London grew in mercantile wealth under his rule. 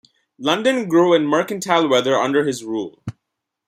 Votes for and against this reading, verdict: 0, 2, rejected